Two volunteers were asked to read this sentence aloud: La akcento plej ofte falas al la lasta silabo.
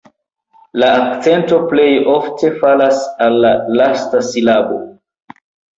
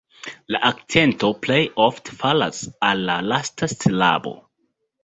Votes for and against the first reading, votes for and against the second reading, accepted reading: 1, 2, 2, 0, second